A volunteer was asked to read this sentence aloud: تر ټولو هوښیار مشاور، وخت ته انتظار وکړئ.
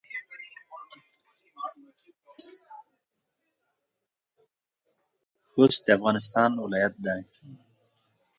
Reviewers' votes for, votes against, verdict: 0, 2, rejected